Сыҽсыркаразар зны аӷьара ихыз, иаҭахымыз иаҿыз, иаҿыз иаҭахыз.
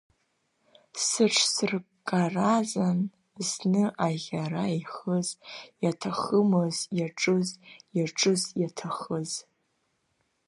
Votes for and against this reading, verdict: 0, 2, rejected